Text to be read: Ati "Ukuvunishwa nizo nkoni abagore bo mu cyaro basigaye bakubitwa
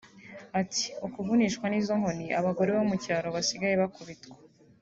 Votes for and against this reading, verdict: 2, 0, accepted